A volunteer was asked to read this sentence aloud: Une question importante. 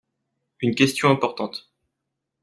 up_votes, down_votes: 2, 0